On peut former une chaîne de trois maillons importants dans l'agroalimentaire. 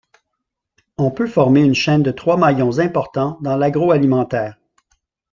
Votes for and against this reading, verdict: 2, 0, accepted